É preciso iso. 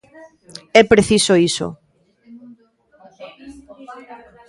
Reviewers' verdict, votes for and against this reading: rejected, 1, 2